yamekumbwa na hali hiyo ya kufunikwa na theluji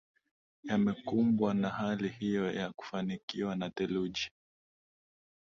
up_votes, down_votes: 2, 0